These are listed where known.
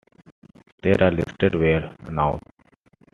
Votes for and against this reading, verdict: 2, 1, accepted